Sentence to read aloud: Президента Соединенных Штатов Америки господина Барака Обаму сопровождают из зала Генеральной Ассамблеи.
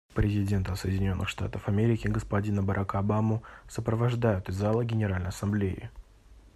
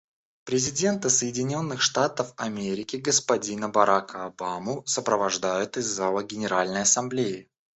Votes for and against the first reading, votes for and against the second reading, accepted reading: 2, 0, 1, 2, first